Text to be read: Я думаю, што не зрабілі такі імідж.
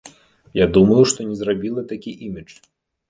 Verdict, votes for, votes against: rejected, 1, 2